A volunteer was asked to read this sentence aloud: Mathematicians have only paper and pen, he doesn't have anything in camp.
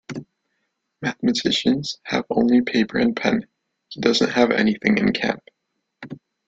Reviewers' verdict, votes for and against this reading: accepted, 2, 0